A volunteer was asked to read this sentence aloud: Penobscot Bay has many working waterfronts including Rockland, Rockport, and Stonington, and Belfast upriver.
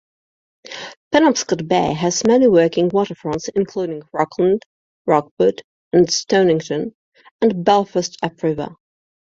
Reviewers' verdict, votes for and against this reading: accepted, 2, 0